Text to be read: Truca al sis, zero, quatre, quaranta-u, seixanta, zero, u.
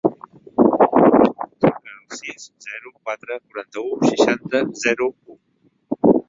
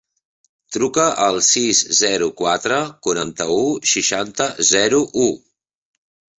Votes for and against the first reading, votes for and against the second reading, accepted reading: 1, 2, 3, 0, second